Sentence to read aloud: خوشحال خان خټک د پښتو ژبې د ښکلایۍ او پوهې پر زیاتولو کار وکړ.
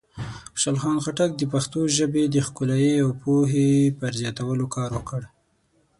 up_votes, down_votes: 6, 0